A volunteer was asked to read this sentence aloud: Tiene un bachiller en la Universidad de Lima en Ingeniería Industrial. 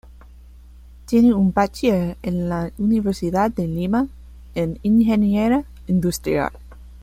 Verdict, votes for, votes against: accepted, 2, 1